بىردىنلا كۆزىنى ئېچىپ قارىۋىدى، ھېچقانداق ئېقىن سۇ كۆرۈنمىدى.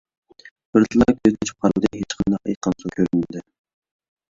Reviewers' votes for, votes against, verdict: 1, 2, rejected